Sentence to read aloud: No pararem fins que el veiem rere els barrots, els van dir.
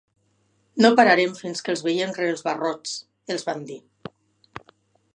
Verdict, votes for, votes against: rejected, 0, 2